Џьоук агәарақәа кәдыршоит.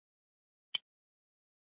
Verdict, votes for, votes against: rejected, 0, 2